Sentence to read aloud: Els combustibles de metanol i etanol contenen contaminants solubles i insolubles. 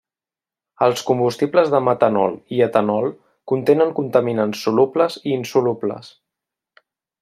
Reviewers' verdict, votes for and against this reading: accepted, 3, 1